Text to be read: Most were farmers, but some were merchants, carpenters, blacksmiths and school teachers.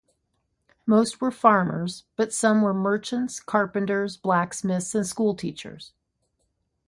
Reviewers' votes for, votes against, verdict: 3, 0, accepted